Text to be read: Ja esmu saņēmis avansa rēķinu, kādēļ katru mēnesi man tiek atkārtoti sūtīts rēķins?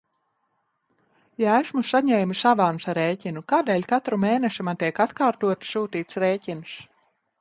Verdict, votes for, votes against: rejected, 0, 2